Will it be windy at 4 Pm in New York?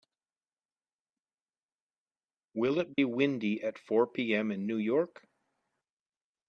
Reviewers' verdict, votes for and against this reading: rejected, 0, 2